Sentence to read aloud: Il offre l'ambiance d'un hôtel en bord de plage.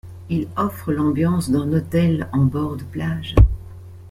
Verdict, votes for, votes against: accepted, 2, 0